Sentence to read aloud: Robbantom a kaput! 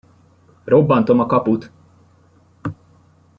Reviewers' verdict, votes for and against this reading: rejected, 1, 2